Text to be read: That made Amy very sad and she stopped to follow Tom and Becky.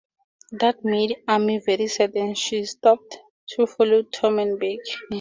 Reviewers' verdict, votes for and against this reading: accepted, 2, 0